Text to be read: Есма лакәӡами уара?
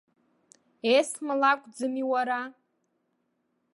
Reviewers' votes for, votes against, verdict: 2, 0, accepted